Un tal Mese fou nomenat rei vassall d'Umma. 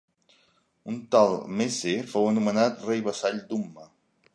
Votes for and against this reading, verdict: 1, 2, rejected